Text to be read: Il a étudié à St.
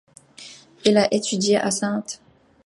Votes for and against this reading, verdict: 2, 1, accepted